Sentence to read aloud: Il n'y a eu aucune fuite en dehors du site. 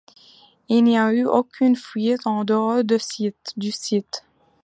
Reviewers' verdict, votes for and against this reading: rejected, 1, 2